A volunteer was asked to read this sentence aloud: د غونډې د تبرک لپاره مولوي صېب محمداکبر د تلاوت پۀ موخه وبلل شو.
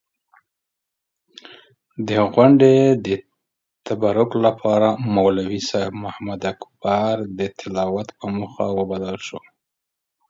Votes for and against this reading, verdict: 2, 1, accepted